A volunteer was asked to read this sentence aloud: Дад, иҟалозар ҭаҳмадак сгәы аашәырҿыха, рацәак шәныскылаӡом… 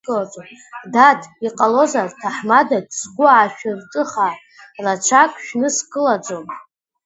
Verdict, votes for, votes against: accepted, 2, 0